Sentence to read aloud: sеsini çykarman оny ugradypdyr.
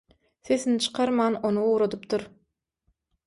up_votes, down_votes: 6, 0